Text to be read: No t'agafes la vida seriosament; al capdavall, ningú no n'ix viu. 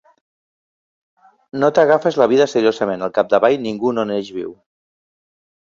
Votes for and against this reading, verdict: 0, 2, rejected